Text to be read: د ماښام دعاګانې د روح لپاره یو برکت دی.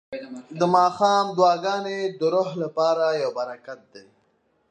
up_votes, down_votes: 2, 0